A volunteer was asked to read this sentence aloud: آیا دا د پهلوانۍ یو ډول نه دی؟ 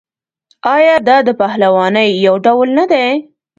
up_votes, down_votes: 2, 0